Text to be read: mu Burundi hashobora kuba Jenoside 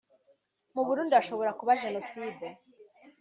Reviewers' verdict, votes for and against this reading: accepted, 2, 0